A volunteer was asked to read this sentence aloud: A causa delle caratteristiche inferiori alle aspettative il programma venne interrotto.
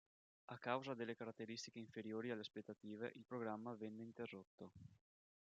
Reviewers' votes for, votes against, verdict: 2, 3, rejected